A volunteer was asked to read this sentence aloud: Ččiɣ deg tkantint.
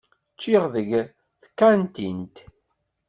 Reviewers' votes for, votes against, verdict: 1, 2, rejected